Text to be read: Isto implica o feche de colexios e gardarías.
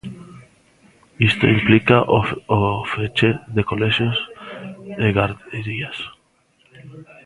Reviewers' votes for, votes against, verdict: 0, 2, rejected